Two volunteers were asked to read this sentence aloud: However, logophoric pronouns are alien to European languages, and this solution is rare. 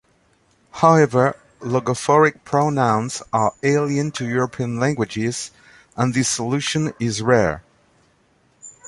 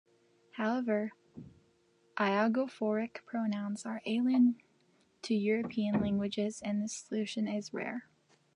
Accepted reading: first